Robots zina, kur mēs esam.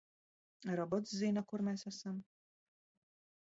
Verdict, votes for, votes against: rejected, 0, 2